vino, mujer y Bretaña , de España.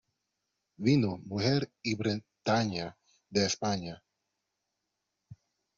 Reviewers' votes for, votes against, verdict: 2, 1, accepted